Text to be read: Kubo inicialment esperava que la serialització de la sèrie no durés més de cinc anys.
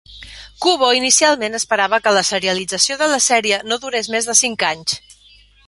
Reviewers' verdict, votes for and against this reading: accepted, 3, 0